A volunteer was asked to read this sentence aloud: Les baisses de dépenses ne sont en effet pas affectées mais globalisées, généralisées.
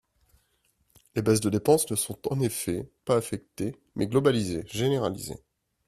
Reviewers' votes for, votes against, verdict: 2, 0, accepted